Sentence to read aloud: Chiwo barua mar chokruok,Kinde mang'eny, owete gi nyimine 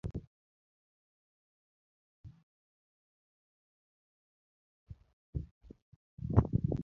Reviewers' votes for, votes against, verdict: 0, 2, rejected